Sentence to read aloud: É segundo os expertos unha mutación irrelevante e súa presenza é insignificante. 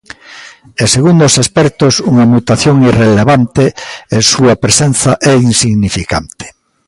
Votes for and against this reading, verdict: 1, 2, rejected